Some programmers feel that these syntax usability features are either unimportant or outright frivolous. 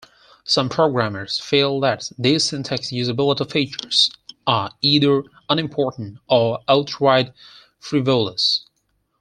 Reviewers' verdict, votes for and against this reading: accepted, 4, 2